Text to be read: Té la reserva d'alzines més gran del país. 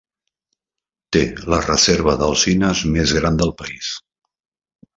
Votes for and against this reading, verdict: 3, 0, accepted